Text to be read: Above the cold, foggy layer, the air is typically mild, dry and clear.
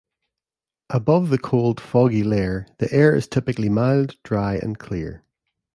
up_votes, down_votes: 2, 0